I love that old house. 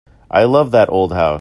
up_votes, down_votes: 2, 3